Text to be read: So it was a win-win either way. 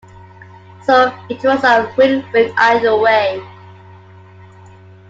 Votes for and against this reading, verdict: 2, 1, accepted